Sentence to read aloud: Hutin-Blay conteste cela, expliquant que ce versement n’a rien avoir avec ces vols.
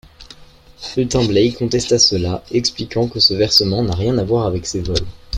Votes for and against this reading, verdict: 2, 1, accepted